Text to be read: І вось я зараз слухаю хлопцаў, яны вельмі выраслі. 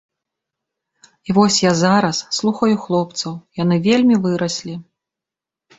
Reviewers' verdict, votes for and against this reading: accepted, 2, 0